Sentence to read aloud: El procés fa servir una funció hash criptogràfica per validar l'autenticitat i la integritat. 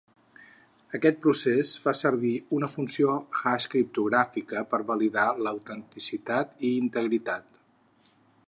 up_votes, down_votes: 0, 4